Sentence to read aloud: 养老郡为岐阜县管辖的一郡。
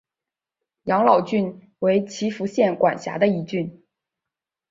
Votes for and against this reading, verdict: 4, 0, accepted